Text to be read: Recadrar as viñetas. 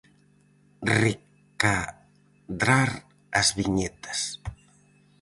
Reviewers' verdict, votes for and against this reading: rejected, 0, 4